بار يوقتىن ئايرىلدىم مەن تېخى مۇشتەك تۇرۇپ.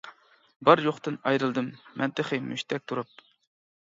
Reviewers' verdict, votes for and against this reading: accepted, 2, 0